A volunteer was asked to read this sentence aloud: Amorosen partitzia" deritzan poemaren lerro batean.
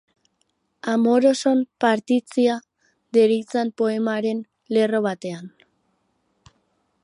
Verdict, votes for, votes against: rejected, 2, 2